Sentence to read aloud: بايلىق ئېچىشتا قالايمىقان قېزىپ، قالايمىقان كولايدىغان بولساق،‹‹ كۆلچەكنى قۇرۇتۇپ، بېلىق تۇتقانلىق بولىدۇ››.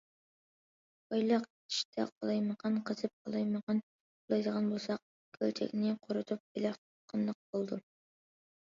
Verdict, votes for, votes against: rejected, 1, 2